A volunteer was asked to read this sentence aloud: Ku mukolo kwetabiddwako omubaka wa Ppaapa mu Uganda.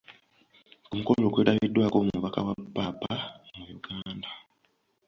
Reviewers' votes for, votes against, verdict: 1, 3, rejected